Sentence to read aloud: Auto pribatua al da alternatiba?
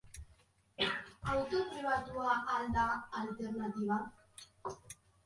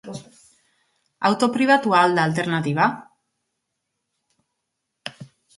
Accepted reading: second